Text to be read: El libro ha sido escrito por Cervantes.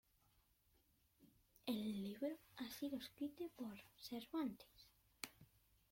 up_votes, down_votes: 0, 2